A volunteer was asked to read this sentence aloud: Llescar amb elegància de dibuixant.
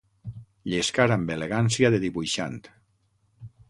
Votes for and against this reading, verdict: 6, 0, accepted